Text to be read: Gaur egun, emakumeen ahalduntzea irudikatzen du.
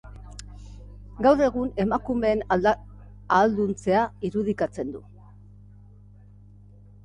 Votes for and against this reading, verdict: 0, 2, rejected